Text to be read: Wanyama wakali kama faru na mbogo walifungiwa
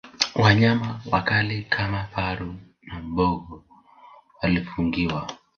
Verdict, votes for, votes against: accepted, 4, 0